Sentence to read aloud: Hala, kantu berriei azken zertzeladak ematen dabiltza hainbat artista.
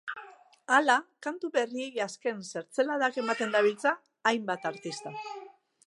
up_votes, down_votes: 2, 0